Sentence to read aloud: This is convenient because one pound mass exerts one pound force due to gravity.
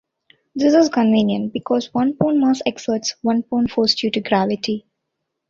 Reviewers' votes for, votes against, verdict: 2, 0, accepted